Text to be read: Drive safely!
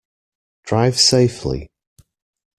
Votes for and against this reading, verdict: 2, 0, accepted